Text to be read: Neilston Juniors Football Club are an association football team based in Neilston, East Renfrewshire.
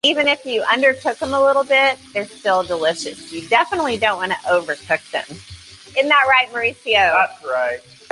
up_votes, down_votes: 0, 2